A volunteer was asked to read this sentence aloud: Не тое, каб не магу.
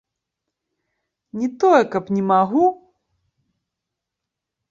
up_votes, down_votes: 1, 2